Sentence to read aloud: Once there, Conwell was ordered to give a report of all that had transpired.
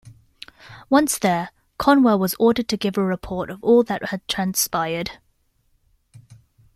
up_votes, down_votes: 2, 0